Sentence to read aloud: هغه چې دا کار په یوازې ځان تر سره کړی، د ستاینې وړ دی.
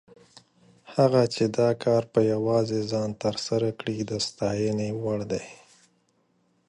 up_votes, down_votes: 2, 0